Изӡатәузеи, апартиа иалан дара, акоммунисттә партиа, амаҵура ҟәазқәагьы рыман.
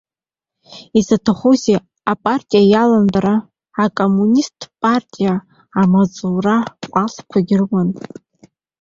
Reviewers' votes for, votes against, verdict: 0, 2, rejected